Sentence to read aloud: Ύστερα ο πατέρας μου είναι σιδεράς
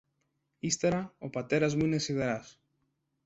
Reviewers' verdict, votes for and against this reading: accepted, 2, 0